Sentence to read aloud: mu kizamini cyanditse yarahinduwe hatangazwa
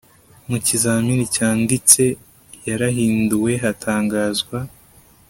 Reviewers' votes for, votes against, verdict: 2, 0, accepted